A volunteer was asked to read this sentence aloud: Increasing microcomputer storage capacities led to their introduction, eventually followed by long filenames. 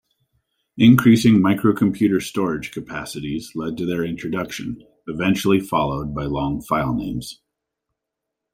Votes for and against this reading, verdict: 2, 0, accepted